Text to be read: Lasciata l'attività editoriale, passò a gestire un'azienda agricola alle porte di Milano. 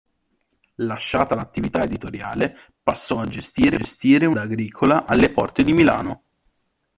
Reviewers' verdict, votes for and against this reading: rejected, 0, 2